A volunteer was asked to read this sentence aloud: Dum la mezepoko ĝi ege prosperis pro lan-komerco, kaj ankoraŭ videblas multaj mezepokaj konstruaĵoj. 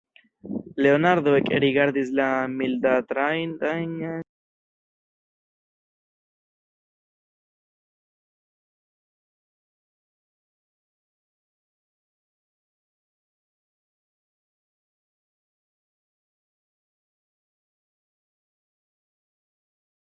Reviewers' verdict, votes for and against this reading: rejected, 0, 2